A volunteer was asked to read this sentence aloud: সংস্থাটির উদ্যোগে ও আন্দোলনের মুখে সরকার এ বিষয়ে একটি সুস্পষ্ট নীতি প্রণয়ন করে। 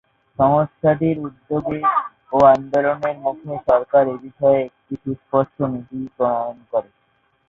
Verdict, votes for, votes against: rejected, 0, 4